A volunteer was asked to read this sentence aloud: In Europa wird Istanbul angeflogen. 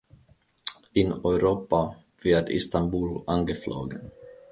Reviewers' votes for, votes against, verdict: 2, 0, accepted